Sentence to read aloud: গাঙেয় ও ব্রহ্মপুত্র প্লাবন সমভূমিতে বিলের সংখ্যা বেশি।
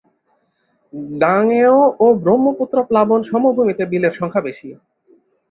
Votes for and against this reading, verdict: 2, 0, accepted